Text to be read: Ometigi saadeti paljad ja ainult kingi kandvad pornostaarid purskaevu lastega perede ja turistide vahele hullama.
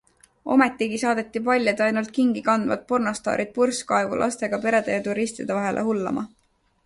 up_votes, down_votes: 2, 0